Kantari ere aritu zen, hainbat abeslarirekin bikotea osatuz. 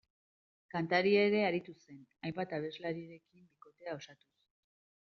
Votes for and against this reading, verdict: 1, 2, rejected